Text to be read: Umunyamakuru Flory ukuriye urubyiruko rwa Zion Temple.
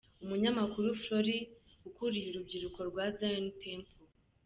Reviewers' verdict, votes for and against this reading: accepted, 2, 0